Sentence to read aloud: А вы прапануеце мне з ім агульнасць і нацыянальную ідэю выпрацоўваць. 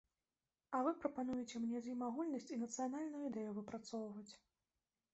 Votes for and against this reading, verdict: 2, 0, accepted